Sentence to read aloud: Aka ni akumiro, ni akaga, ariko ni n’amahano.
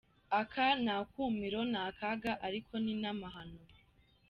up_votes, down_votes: 2, 0